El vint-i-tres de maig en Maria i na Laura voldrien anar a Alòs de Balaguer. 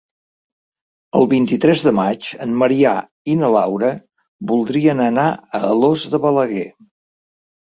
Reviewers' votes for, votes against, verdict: 3, 1, accepted